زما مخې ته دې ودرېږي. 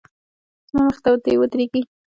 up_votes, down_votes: 1, 2